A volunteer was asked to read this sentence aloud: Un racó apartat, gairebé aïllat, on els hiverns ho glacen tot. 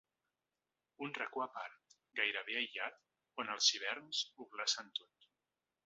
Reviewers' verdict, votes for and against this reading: rejected, 0, 2